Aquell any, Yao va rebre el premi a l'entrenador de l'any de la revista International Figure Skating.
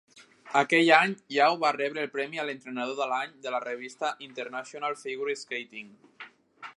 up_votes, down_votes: 2, 0